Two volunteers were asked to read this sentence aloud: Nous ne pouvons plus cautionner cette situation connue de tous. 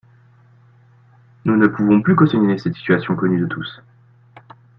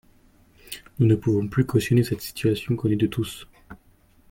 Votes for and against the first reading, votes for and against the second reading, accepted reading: 1, 2, 2, 0, second